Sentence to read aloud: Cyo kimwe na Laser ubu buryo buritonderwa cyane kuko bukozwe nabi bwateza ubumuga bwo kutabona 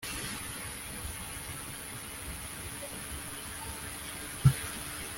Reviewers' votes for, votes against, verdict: 0, 2, rejected